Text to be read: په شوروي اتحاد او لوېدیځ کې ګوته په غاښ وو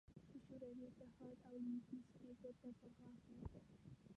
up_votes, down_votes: 1, 2